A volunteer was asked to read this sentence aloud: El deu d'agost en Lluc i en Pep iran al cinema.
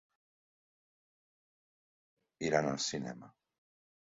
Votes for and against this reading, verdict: 0, 2, rejected